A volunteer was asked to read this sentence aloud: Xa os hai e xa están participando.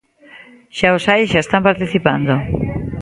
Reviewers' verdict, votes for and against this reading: rejected, 1, 2